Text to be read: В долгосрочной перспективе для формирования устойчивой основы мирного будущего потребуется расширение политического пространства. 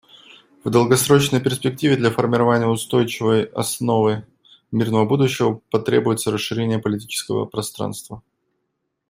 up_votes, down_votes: 2, 0